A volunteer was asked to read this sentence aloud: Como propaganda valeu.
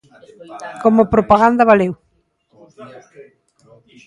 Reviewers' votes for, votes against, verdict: 2, 1, accepted